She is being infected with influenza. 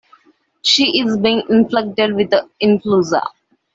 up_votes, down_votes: 0, 2